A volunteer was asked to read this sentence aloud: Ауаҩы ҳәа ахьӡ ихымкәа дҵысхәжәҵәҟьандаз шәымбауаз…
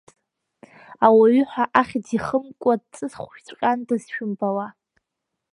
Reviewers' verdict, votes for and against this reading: accepted, 2, 1